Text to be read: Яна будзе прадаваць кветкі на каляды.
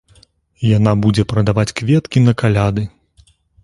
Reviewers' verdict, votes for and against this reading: accepted, 3, 0